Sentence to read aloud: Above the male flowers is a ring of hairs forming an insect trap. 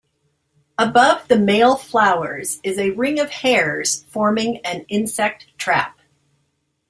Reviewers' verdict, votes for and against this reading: accepted, 2, 0